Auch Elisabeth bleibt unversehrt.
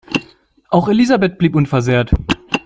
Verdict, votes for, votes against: accepted, 2, 1